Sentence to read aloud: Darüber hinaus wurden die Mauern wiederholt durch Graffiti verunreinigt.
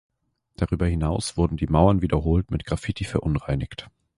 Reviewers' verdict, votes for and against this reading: rejected, 1, 2